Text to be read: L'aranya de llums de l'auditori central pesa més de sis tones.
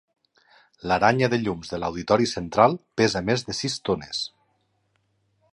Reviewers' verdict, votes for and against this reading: accepted, 2, 0